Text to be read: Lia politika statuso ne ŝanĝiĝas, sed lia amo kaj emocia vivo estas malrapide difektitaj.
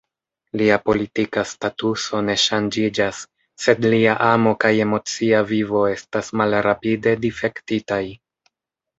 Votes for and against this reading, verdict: 2, 0, accepted